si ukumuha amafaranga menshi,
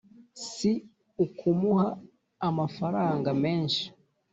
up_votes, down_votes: 2, 0